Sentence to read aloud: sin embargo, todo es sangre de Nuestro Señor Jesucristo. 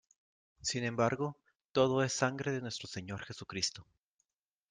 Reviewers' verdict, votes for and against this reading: accepted, 2, 0